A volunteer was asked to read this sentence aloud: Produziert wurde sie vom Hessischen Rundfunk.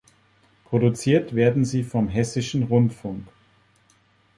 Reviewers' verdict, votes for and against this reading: rejected, 0, 3